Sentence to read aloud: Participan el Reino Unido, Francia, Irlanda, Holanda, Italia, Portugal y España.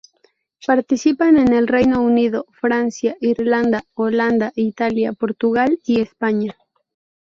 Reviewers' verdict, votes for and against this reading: rejected, 0, 2